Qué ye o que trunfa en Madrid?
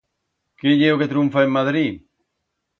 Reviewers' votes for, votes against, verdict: 2, 0, accepted